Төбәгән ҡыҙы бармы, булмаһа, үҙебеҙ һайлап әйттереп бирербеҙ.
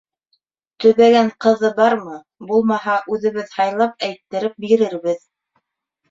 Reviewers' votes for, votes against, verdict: 2, 0, accepted